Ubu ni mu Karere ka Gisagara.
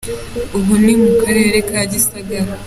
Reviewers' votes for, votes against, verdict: 2, 0, accepted